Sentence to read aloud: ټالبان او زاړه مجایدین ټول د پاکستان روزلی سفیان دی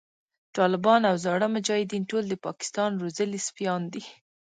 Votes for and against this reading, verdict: 1, 2, rejected